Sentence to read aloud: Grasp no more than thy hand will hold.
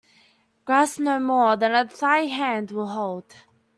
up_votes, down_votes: 0, 2